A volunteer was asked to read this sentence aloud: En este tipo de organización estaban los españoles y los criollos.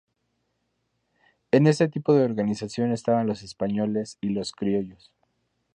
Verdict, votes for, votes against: rejected, 0, 2